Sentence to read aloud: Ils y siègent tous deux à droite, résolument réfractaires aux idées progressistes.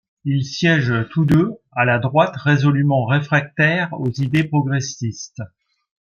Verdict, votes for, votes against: rejected, 1, 2